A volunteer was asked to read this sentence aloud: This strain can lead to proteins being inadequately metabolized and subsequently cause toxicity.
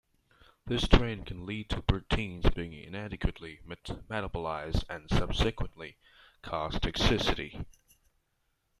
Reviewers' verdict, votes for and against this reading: rejected, 0, 2